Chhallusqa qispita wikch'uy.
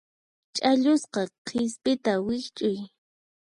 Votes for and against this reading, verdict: 2, 4, rejected